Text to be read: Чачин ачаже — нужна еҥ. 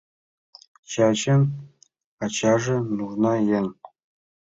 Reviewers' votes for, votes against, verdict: 2, 0, accepted